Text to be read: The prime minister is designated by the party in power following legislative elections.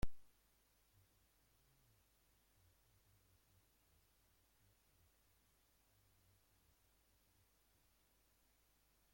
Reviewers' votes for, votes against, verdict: 0, 2, rejected